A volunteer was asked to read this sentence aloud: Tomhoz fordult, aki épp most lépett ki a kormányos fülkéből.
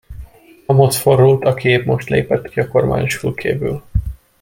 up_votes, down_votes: 1, 2